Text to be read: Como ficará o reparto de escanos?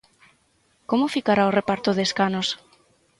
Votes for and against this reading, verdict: 6, 0, accepted